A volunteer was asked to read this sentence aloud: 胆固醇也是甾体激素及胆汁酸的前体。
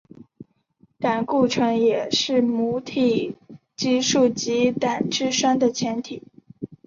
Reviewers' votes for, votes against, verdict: 0, 5, rejected